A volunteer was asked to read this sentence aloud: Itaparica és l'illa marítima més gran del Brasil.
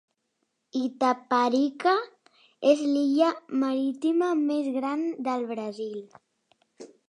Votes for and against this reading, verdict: 2, 0, accepted